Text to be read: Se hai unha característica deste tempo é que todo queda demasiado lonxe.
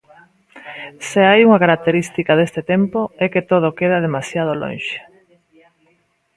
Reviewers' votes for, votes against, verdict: 0, 2, rejected